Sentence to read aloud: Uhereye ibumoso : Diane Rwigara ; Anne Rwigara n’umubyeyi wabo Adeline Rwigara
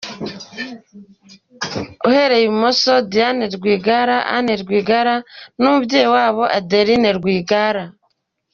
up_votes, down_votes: 2, 0